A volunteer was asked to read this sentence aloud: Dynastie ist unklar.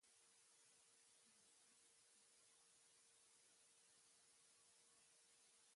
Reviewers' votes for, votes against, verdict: 0, 2, rejected